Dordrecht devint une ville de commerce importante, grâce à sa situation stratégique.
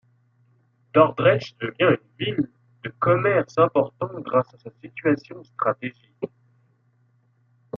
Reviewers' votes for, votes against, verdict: 1, 2, rejected